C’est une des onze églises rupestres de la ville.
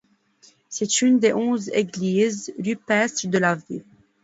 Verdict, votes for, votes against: rejected, 0, 2